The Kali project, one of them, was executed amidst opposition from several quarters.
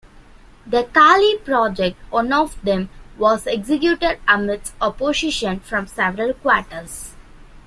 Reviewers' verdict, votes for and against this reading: accepted, 2, 0